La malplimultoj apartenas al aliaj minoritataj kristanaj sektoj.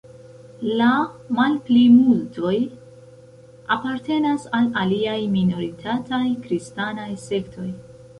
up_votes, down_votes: 1, 2